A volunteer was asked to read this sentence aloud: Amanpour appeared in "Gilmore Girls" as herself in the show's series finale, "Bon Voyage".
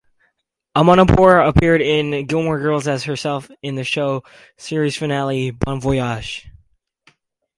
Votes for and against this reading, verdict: 4, 0, accepted